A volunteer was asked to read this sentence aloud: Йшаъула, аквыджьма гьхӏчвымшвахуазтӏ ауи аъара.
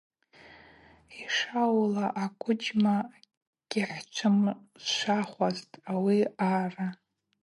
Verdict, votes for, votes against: rejected, 0, 2